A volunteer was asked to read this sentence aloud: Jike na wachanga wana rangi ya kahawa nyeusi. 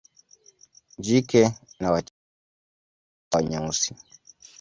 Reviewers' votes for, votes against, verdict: 0, 2, rejected